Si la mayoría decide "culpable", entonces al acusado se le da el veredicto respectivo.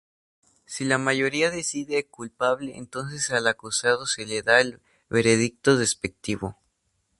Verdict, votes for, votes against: rejected, 2, 2